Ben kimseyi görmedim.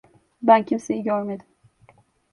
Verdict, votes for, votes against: accepted, 2, 0